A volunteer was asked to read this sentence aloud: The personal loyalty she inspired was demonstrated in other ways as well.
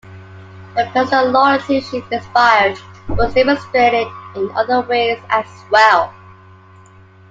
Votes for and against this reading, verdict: 2, 1, accepted